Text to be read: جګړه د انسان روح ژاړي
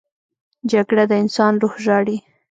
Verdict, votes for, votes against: rejected, 1, 2